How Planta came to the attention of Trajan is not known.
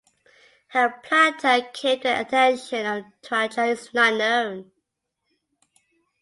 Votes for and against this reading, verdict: 2, 0, accepted